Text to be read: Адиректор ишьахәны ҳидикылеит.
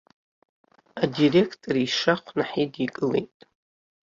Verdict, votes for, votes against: rejected, 0, 2